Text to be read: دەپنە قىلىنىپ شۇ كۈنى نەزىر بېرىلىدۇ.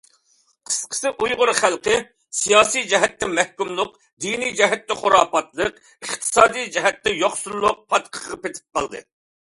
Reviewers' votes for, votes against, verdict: 0, 2, rejected